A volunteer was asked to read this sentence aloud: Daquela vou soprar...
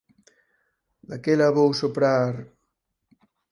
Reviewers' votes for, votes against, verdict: 6, 0, accepted